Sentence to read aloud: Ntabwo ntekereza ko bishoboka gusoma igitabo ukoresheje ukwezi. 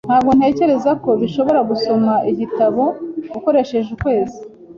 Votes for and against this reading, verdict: 3, 0, accepted